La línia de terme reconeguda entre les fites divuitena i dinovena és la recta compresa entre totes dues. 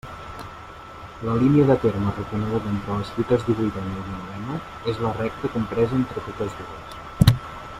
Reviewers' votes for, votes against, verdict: 1, 2, rejected